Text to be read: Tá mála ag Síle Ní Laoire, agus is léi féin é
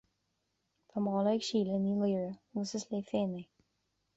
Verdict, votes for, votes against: accepted, 2, 1